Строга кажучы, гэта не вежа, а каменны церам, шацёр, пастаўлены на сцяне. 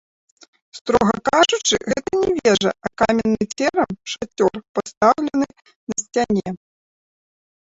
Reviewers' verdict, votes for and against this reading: rejected, 0, 2